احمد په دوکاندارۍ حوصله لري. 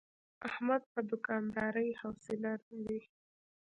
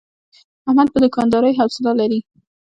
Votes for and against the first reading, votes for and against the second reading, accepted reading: 2, 1, 1, 2, first